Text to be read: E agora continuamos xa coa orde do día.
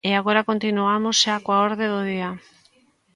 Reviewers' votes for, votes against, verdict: 2, 0, accepted